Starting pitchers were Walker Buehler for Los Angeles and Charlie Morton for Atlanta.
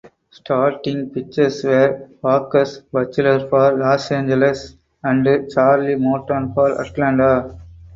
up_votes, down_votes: 2, 4